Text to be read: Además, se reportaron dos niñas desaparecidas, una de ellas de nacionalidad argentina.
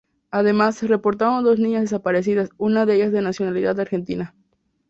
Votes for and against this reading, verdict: 2, 0, accepted